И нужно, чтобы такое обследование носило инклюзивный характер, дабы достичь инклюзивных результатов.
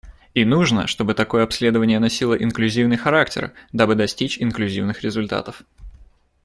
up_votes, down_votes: 2, 0